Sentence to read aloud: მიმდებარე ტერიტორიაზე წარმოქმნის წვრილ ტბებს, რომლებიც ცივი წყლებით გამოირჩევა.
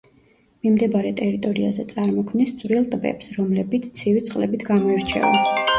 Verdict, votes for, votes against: rejected, 1, 2